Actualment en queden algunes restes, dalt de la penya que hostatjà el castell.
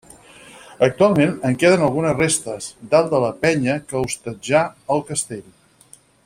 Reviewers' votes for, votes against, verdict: 4, 0, accepted